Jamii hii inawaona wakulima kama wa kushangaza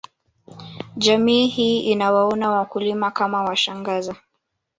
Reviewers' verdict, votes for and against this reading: rejected, 0, 2